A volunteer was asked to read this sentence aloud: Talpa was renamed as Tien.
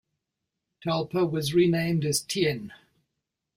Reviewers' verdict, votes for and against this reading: accepted, 2, 0